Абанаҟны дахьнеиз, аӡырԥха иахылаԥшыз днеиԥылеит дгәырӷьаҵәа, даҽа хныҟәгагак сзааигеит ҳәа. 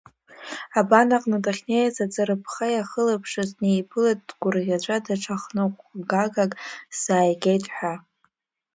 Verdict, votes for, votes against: accepted, 2, 1